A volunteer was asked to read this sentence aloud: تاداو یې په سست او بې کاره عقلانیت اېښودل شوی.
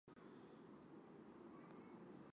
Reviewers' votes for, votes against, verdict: 1, 2, rejected